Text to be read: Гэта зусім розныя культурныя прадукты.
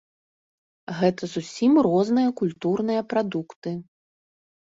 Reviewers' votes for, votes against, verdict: 2, 0, accepted